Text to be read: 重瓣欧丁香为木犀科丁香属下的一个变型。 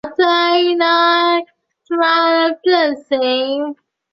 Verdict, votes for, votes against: rejected, 0, 3